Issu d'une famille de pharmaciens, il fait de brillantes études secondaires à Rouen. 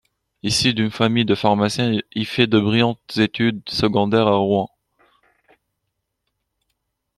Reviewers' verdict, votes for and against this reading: accepted, 2, 0